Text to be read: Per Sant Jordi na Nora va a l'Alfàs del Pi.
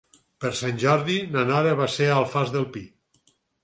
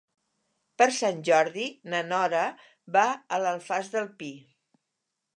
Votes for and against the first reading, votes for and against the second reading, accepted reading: 2, 4, 3, 0, second